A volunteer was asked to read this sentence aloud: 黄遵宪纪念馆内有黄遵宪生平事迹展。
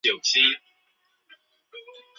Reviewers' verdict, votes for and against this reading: rejected, 0, 3